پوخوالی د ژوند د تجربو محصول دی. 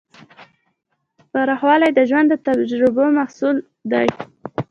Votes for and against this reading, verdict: 2, 0, accepted